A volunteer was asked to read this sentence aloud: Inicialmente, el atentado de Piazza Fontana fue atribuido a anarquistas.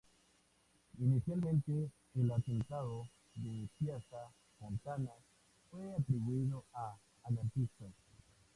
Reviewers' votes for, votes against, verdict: 0, 2, rejected